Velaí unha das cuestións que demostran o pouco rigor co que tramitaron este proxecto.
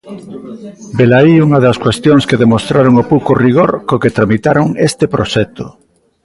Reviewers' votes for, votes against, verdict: 0, 2, rejected